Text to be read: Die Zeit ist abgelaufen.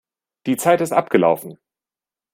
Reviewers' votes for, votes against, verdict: 2, 0, accepted